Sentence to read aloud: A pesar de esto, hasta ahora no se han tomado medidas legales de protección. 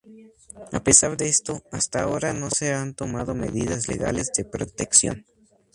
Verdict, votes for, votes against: rejected, 0, 2